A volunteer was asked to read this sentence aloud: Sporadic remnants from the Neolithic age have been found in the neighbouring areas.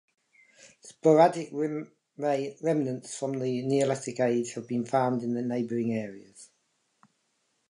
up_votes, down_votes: 0, 2